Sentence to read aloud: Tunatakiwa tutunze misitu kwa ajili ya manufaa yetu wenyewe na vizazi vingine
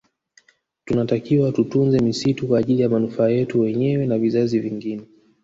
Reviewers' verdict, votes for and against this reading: rejected, 1, 2